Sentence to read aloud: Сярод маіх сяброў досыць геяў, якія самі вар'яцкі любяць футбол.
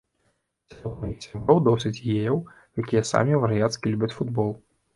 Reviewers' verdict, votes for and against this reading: rejected, 0, 2